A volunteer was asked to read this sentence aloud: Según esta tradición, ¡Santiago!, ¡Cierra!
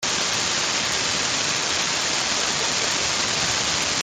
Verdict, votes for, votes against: rejected, 0, 2